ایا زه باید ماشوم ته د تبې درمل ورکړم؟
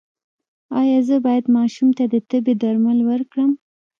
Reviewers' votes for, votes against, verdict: 1, 2, rejected